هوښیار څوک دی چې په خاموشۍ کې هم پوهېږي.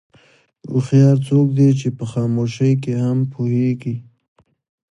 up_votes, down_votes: 2, 1